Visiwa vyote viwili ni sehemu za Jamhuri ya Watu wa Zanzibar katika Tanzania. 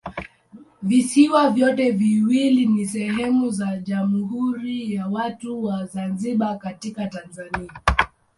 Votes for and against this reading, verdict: 2, 0, accepted